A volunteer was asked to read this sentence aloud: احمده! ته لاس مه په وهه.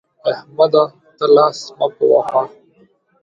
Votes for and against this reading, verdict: 2, 1, accepted